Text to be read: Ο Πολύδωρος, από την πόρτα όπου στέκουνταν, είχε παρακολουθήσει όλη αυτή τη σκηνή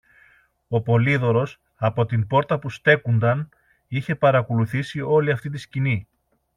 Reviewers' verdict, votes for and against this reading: rejected, 1, 2